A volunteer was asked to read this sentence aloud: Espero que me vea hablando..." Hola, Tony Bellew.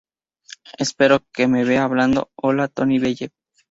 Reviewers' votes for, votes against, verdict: 2, 0, accepted